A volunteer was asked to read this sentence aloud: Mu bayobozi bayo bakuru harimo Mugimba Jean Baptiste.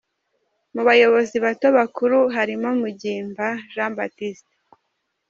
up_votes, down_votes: 1, 2